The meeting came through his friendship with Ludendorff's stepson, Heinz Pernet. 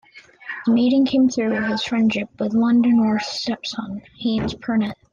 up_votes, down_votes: 1, 2